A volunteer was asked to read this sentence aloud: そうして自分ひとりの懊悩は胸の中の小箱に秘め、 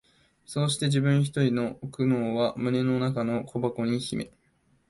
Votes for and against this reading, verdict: 1, 2, rejected